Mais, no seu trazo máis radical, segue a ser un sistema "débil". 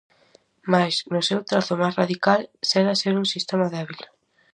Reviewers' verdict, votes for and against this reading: accepted, 2, 0